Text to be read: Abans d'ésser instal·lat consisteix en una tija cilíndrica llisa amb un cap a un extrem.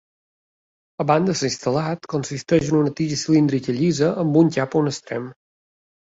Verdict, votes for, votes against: rejected, 1, 2